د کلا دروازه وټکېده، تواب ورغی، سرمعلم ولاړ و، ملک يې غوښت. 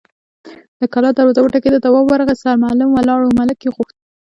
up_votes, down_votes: 1, 2